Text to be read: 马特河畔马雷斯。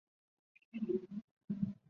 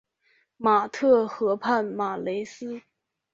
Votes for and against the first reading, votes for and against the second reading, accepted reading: 0, 4, 5, 0, second